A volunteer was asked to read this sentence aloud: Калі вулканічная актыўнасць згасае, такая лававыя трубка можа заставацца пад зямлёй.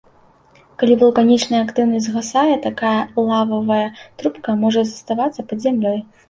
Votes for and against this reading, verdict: 2, 0, accepted